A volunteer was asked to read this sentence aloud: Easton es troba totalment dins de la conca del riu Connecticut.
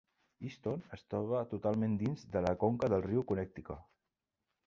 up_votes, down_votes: 2, 1